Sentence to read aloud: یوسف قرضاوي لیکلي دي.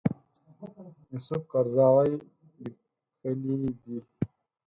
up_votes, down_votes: 2, 4